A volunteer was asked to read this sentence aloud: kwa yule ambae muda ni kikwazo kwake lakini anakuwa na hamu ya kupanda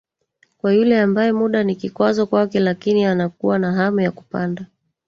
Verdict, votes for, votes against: rejected, 1, 2